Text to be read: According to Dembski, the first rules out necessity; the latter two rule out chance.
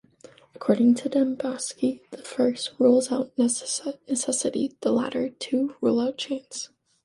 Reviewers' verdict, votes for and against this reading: rejected, 1, 2